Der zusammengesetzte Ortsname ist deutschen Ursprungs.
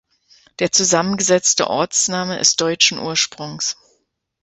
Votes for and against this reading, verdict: 2, 0, accepted